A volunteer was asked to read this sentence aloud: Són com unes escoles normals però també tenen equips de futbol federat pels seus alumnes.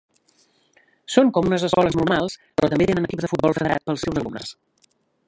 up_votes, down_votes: 1, 2